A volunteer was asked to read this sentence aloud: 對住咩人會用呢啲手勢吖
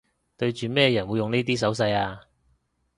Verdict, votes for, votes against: accepted, 2, 0